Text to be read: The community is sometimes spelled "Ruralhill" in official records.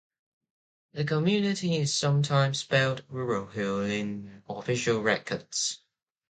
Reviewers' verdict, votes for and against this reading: accepted, 2, 1